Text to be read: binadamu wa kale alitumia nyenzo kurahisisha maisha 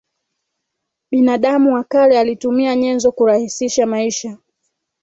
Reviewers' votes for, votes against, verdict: 2, 1, accepted